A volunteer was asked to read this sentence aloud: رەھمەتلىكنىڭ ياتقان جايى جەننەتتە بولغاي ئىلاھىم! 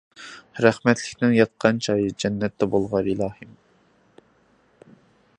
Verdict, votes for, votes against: accepted, 2, 0